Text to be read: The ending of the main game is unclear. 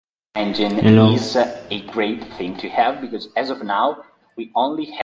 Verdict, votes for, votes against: rejected, 0, 2